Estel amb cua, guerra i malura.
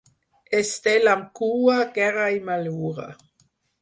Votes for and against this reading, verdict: 4, 0, accepted